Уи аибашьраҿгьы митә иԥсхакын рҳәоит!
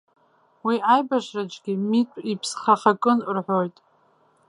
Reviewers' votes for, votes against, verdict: 1, 2, rejected